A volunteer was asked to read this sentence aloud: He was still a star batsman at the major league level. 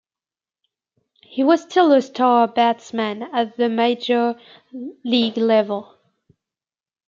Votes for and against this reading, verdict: 2, 0, accepted